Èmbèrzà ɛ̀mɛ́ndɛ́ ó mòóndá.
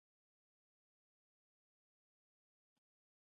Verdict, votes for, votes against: rejected, 0, 2